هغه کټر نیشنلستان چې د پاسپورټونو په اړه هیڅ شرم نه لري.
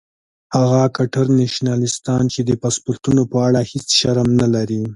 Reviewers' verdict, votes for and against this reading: accepted, 2, 0